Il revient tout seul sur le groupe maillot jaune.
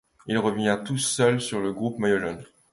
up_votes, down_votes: 2, 1